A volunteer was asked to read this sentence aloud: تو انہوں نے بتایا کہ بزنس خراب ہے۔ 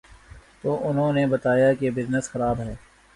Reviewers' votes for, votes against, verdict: 2, 0, accepted